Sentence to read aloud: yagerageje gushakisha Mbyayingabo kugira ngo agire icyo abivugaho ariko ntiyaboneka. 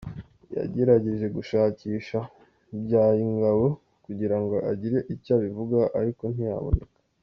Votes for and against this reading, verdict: 2, 0, accepted